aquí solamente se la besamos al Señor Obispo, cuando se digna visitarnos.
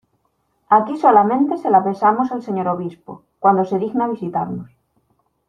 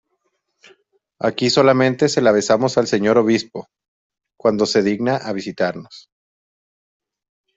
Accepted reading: first